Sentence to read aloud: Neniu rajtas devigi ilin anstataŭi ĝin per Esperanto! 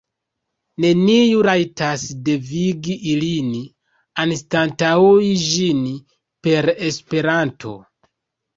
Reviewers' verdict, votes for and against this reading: rejected, 1, 2